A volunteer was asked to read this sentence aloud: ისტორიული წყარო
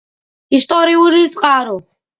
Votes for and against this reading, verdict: 2, 0, accepted